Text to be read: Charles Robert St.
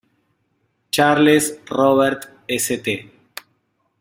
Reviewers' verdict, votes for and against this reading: accepted, 2, 0